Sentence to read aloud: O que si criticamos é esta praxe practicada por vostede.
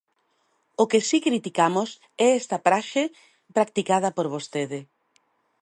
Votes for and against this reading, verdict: 1, 2, rejected